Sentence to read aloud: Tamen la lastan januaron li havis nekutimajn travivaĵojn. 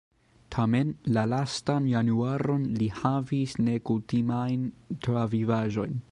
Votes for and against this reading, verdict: 0, 2, rejected